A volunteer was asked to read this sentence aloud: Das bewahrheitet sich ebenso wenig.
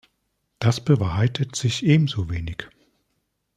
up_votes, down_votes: 2, 0